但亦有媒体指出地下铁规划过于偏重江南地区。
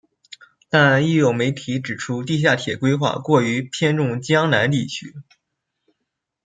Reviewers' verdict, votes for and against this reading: rejected, 0, 2